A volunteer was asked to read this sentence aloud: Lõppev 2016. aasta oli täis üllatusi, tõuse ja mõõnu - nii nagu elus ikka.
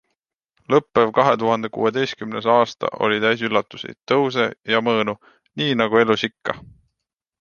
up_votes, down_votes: 0, 2